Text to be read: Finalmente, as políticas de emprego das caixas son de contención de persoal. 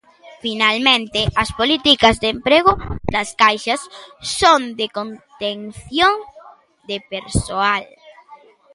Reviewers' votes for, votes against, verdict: 1, 2, rejected